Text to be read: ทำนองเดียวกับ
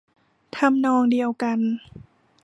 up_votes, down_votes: 1, 2